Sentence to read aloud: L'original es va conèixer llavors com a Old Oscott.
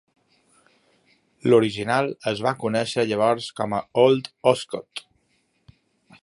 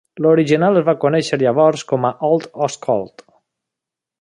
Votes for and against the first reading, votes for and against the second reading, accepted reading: 2, 0, 1, 2, first